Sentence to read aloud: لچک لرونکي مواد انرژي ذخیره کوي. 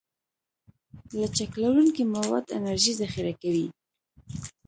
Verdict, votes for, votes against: accepted, 2, 0